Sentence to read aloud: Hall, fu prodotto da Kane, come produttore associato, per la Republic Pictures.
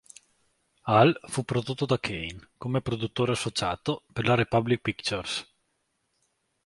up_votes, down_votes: 2, 1